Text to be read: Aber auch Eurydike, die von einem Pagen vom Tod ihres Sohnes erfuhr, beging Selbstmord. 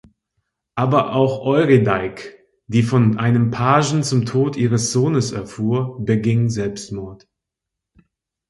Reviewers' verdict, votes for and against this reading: accepted, 2, 0